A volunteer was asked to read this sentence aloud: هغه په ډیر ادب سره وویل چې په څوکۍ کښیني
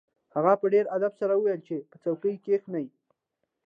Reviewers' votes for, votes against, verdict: 2, 0, accepted